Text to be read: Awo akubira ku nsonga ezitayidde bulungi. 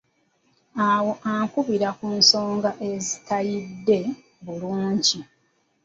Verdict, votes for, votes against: rejected, 1, 2